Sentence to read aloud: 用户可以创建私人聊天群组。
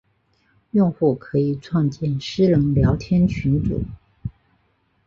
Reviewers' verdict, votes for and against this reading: rejected, 0, 2